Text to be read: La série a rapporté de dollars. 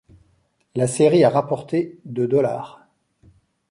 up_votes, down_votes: 2, 0